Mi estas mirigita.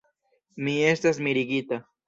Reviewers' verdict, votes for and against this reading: accepted, 2, 0